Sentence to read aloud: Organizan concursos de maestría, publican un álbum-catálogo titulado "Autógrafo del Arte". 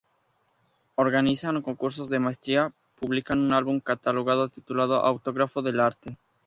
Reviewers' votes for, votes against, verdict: 0, 2, rejected